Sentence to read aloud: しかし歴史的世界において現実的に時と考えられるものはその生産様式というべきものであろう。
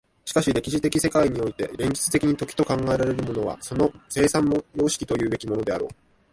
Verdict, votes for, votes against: accepted, 2, 1